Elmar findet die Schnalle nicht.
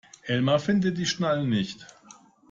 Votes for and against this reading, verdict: 1, 2, rejected